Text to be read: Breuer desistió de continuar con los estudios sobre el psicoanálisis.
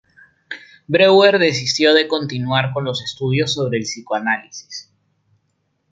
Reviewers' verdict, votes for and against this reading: rejected, 0, 2